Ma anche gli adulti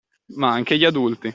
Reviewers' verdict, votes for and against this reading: accepted, 2, 0